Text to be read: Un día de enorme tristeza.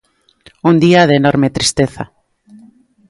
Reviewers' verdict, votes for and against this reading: accepted, 2, 0